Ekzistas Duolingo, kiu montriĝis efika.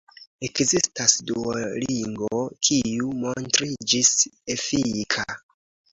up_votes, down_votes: 0, 2